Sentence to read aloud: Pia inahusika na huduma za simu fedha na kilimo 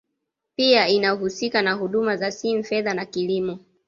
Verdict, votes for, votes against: accepted, 2, 0